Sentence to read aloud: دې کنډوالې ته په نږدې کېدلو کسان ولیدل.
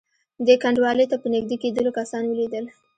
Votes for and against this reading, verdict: 2, 0, accepted